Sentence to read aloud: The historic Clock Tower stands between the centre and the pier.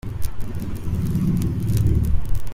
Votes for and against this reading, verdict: 0, 2, rejected